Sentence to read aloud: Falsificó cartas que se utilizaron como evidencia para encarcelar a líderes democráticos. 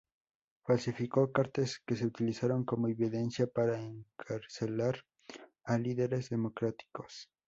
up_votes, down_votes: 0, 2